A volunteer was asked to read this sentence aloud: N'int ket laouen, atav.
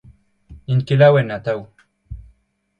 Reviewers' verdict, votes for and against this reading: accepted, 2, 0